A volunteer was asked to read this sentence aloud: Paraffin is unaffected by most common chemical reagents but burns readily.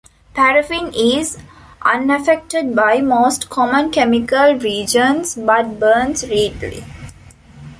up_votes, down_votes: 1, 2